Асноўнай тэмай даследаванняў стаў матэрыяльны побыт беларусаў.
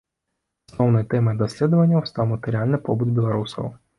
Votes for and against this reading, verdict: 0, 2, rejected